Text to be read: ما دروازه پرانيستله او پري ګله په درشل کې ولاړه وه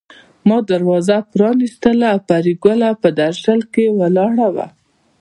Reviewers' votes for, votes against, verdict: 1, 2, rejected